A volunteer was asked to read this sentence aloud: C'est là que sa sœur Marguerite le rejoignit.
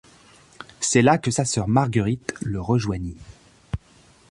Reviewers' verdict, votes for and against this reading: accepted, 2, 0